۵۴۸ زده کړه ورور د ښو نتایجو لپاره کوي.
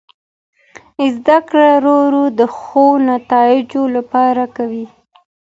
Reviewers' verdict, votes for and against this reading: rejected, 0, 2